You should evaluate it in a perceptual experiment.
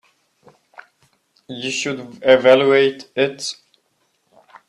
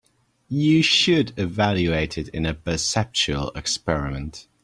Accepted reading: second